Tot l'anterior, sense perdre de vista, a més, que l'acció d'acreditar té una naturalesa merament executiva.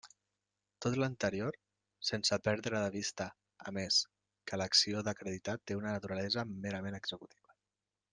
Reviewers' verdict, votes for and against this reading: rejected, 1, 2